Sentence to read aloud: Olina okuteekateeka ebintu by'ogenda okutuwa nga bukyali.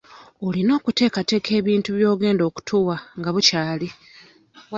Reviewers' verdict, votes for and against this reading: accepted, 2, 0